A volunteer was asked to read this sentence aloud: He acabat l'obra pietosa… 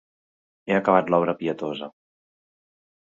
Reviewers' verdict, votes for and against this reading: accepted, 4, 0